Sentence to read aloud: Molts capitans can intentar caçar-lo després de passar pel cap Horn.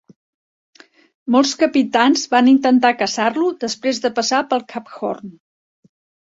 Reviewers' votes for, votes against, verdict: 2, 0, accepted